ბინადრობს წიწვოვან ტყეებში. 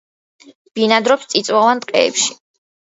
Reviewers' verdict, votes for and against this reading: accepted, 2, 0